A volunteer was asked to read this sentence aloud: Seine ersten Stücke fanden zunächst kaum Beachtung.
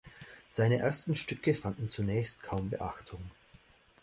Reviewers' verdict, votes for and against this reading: accepted, 2, 0